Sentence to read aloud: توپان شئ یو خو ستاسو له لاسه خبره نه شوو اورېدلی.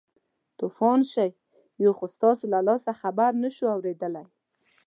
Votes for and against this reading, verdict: 2, 0, accepted